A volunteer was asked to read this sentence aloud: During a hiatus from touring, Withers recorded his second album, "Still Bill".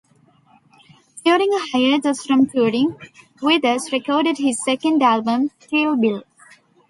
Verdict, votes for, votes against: rejected, 1, 2